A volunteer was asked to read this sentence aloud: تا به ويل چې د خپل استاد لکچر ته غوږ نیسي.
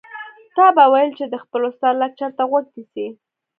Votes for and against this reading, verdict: 2, 1, accepted